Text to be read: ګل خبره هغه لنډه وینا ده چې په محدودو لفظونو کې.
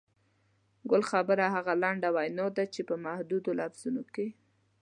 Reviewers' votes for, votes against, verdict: 2, 0, accepted